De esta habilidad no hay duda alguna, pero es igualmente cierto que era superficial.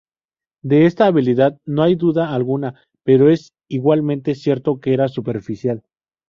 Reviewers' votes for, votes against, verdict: 2, 0, accepted